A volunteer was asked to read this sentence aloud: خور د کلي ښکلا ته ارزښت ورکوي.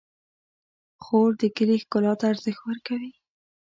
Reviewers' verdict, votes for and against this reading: accepted, 2, 0